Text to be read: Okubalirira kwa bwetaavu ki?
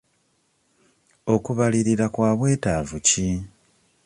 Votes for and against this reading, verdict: 2, 0, accepted